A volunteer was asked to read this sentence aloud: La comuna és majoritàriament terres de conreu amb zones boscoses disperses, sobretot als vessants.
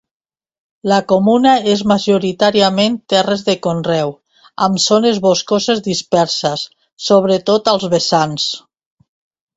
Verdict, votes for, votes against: accepted, 2, 0